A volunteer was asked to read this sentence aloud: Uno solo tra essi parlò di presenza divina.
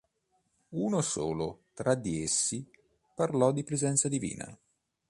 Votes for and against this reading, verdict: 0, 2, rejected